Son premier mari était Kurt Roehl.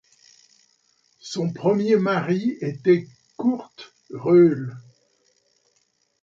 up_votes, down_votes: 2, 0